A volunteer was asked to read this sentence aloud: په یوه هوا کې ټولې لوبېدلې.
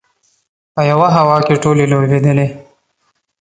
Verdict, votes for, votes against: accepted, 2, 0